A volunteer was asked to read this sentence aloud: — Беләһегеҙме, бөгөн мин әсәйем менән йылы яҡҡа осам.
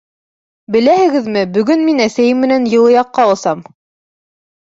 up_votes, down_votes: 2, 0